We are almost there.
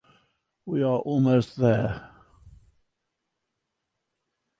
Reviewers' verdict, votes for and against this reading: accepted, 2, 1